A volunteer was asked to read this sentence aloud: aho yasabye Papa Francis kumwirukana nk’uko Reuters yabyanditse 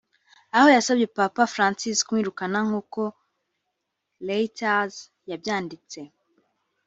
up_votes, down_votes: 2, 0